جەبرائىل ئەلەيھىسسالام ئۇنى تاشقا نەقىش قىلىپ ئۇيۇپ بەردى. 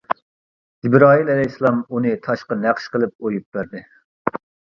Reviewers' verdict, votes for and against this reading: accepted, 2, 0